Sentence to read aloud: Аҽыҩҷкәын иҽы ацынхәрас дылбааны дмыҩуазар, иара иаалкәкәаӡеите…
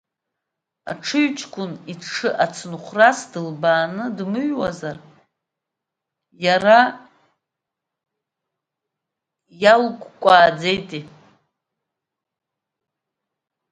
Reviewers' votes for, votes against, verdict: 1, 2, rejected